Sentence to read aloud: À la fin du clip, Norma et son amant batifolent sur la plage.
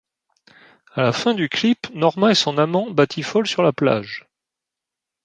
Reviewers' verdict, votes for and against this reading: accepted, 2, 0